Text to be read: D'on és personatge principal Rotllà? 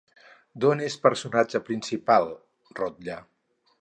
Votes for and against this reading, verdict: 4, 2, accepted